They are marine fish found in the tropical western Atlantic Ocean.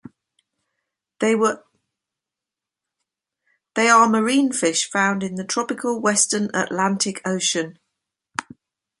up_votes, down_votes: 0, 2